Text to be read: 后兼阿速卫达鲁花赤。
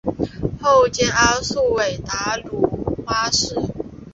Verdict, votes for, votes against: rejected, 2, 3